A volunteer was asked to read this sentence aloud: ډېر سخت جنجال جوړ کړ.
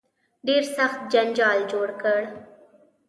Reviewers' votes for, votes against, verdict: 2, 0, accepted